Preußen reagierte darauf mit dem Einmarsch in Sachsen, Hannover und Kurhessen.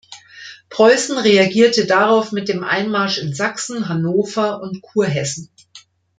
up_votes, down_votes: 2, 0